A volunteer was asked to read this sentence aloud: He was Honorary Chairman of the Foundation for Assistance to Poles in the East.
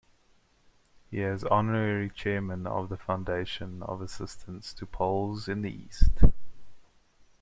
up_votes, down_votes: 1, 2